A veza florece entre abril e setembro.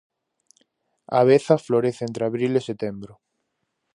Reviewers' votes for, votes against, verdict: 4, 0, accepted